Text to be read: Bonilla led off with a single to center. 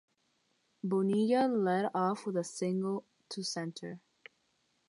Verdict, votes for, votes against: rejected, 3, 3